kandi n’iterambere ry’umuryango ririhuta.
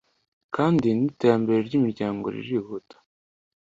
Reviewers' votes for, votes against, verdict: 2, 0, accepted